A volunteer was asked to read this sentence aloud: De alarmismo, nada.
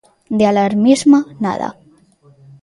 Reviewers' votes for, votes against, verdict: 1, 2, rejected